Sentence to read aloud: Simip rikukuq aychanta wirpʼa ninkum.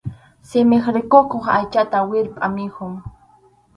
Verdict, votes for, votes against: rejected, 0, 2